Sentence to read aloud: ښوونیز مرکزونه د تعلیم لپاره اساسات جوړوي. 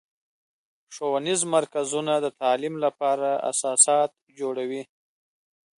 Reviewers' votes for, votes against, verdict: 2, 0, accepted